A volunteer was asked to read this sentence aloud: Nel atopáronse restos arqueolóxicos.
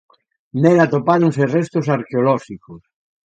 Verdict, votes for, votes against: accepted, 2, 0